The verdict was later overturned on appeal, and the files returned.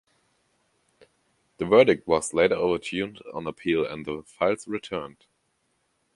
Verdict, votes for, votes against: rejected, 1, 2